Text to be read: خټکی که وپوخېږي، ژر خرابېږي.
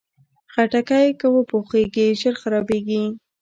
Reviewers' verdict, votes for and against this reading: accepted, 2, 0